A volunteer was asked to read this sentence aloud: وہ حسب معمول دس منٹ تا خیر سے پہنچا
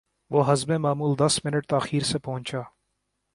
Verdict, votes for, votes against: accepted, 2, 0